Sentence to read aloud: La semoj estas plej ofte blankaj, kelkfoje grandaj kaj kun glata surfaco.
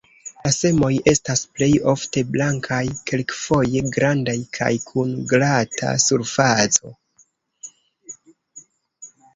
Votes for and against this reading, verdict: 1, 2, rejected